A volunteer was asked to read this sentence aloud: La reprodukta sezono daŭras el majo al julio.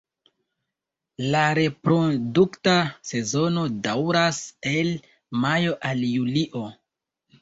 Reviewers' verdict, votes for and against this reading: rejected, 0, 2